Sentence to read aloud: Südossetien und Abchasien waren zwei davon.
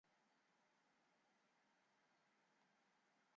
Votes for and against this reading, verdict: 0, 2, rejected